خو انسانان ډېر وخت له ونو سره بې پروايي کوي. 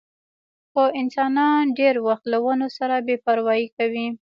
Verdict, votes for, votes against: accepted, 2, 1